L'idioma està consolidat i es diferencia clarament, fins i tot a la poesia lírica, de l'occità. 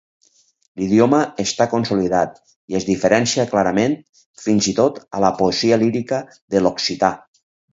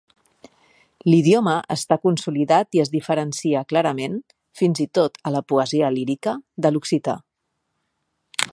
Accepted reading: second